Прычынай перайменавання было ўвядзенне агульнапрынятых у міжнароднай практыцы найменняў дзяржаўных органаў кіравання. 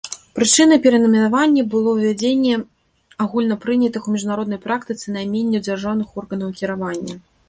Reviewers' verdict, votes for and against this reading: rejected, 0, 2